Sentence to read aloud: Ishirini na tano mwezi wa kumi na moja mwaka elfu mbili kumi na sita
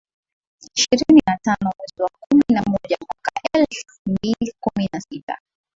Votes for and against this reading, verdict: 6, 3, accepted